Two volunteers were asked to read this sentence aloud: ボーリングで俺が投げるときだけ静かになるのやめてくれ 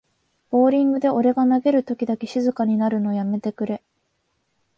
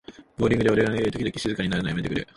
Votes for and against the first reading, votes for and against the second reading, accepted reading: 4, 0, 1, 2, first